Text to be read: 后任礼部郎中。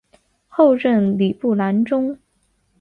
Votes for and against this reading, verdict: 2, 0, accepted